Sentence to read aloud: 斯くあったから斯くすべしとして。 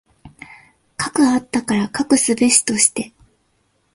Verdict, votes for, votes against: accepted, 2, 1